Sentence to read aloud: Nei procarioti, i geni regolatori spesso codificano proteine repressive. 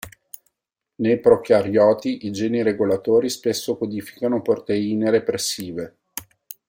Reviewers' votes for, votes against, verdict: 2, 0, accepted